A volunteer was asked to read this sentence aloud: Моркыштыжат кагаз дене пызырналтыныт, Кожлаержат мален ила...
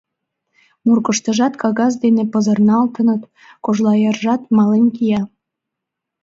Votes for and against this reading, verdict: 0, 2, rejected